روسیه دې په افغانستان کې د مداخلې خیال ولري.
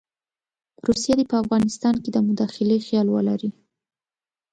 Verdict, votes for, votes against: accepted, 2, 0